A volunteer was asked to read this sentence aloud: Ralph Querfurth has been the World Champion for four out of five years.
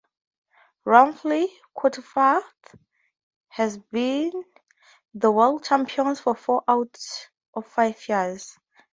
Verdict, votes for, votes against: rejected, 0, 2